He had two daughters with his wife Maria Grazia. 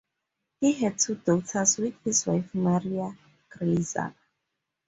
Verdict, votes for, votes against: accepted, 2, 0